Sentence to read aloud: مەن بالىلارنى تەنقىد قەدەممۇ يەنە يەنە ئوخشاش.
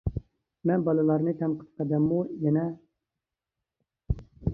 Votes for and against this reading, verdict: 0, 2, rejected